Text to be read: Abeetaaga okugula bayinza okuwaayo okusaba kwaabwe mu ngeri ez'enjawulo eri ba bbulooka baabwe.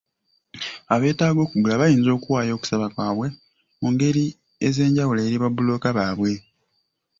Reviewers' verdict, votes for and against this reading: accepted, 2, 0